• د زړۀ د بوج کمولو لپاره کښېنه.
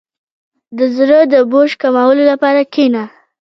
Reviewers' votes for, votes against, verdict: 2, 0, accepted